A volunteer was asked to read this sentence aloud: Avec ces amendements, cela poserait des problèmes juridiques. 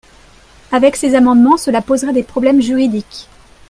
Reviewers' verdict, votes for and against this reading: accepted, 2, 0